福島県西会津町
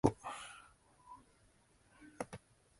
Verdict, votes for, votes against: rejected, 0, 2